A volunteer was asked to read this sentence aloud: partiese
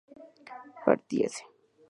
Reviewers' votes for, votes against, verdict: 2, 0, accepted